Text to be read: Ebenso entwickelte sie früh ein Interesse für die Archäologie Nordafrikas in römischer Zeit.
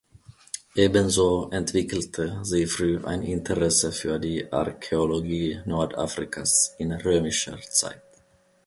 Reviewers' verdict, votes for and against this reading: accepted, 2, 0